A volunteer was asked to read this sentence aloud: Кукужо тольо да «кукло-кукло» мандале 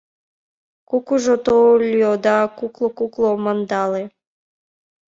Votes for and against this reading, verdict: 1, 2, rejected